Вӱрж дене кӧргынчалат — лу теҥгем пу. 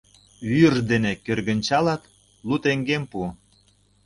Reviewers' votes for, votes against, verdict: 0, 2, rejected